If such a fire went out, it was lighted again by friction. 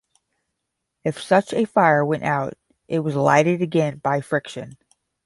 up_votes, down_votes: 10, 0